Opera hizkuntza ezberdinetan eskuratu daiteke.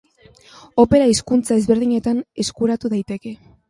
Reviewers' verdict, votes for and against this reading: accepted, 2, 0